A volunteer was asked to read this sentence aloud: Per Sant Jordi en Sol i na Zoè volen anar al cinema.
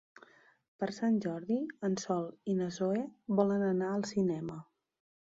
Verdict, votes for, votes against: accepted, 3, 1